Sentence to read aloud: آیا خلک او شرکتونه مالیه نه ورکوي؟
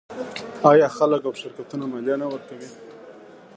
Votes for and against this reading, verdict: 1, 2, rejected